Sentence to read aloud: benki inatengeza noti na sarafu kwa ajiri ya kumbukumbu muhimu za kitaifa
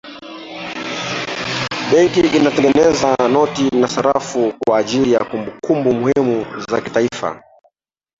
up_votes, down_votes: 2, 1